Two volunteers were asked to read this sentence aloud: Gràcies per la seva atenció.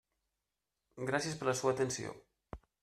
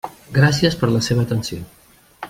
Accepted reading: second